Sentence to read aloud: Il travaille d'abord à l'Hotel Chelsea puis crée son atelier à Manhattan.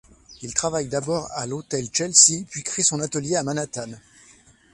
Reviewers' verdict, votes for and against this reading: accepted, 2, 0